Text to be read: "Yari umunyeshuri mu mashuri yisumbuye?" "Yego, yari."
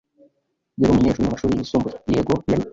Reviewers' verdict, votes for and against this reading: accepted, 2, 0